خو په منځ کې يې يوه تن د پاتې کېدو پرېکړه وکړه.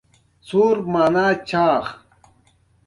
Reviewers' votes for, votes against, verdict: 1, 2, rejected